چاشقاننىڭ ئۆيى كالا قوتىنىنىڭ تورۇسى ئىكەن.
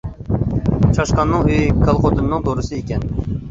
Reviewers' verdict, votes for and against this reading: rejected, 0, 2